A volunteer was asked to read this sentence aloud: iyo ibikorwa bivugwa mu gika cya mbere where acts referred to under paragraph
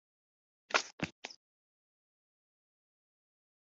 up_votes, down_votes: 0, 2